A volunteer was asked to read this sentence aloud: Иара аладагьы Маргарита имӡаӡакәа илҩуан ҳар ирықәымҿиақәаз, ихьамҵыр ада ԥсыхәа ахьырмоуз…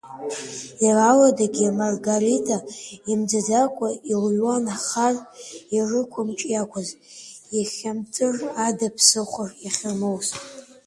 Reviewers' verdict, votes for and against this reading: rejected, 0, 2